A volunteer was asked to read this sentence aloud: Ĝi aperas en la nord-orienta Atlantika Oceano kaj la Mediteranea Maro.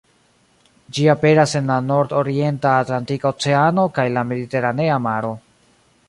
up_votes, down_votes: 2, 1